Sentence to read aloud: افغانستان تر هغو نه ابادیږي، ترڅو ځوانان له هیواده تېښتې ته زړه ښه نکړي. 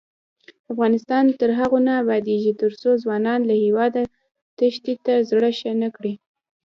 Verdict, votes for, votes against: accepted, 2, 0